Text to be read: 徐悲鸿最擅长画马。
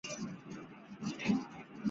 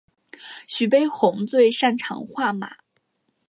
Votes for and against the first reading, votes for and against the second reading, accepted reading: 0, 2, 2, 0, second